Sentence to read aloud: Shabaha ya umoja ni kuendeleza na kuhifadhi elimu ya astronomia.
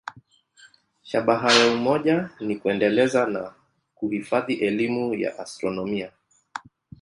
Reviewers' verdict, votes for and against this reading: accepted, 2, 0